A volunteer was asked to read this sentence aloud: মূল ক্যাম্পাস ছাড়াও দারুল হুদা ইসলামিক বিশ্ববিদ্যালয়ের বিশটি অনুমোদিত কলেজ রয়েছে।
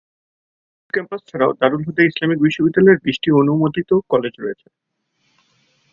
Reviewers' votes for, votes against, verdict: 34, 22, accepted